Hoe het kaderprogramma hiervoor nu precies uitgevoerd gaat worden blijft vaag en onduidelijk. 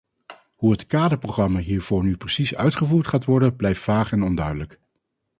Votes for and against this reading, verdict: 4, 0, accepted